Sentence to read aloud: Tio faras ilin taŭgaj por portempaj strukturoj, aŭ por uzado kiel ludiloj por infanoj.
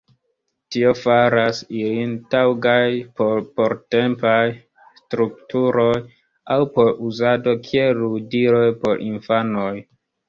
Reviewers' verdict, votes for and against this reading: rejected, 1, 2